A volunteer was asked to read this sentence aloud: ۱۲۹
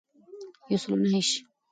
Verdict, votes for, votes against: rejected, 0, 2